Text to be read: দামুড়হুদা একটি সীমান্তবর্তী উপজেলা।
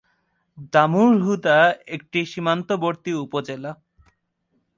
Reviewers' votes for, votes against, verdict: 2, 1, accepted